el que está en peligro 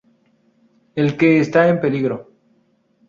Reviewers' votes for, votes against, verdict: 0, 2, rejected